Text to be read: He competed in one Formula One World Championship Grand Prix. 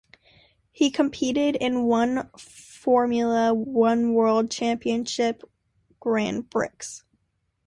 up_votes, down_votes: 1, 2